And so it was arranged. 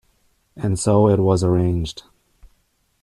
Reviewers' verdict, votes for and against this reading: accepted, 2, 0